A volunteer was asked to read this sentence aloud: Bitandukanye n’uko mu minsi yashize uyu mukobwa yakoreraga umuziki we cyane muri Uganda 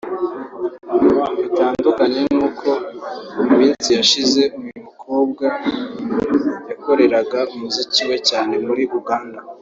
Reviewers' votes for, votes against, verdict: 2, 1, accepted